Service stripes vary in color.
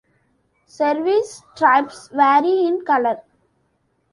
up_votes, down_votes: 0, 2